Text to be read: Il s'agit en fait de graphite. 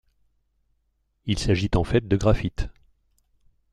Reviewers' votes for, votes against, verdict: 2, 0, accepted